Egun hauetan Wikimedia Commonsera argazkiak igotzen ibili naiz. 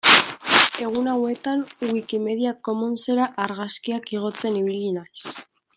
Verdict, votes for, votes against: accepted, 2, 0